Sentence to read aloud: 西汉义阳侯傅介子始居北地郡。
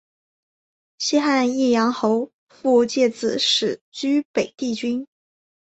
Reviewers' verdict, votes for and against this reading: accepted, 3, 0